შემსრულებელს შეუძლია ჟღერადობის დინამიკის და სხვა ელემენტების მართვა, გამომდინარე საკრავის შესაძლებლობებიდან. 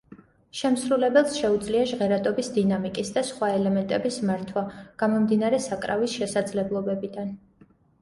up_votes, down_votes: 2, 0